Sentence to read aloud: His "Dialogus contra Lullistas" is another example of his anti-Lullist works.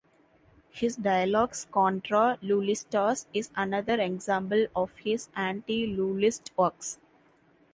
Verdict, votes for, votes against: accepted, 2, 1